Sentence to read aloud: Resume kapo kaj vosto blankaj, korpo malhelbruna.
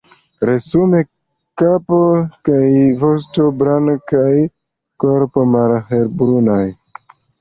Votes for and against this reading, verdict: 2, 0, accepted